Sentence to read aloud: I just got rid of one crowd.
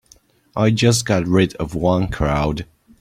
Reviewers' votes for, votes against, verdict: 3, 0, accepted